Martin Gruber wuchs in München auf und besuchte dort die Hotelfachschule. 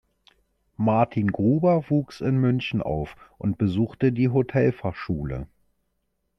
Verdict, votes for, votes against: rejected, 0, 2